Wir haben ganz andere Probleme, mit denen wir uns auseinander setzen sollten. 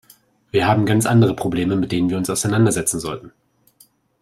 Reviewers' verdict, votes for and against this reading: accepted, 2, 0